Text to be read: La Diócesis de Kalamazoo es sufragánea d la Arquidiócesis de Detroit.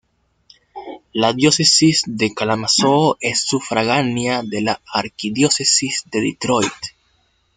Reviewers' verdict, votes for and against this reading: rejected, 1, 2